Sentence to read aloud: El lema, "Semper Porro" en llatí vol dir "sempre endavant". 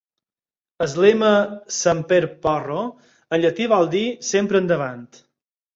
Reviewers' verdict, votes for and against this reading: rejected, 2, 4